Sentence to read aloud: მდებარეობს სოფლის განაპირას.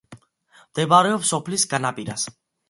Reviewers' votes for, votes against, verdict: 2, 0, accepted